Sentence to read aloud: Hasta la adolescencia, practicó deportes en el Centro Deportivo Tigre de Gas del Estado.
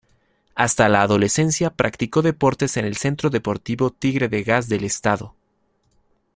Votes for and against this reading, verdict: 1, 2, rejected